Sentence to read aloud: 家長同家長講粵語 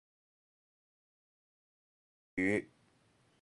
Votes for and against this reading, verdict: 2, 4, rejected